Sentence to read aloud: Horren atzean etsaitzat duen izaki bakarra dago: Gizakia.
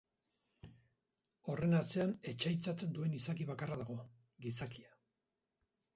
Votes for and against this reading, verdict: 2, 4, rejected